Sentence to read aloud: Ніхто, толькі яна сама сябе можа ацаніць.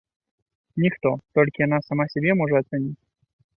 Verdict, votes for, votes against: accepted, 2, 1